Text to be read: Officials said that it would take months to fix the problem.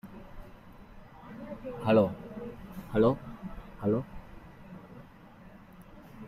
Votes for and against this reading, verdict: 0, 2, rejected